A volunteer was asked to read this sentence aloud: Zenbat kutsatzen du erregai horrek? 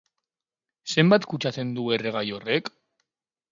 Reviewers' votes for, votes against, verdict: 8, 0, accepted